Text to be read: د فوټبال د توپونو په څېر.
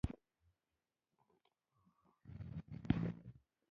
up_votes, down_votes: 1, 2